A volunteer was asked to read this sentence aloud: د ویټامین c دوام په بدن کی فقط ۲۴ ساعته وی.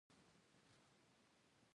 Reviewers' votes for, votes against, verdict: 0, 2, rejected